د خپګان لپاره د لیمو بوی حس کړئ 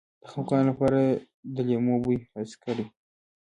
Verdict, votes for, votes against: accepted, 2, 1